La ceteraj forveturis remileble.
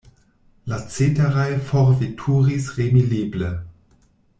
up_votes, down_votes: 1, 2